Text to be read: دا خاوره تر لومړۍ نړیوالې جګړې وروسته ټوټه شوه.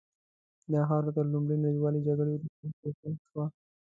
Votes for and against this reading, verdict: 2, 0, accepted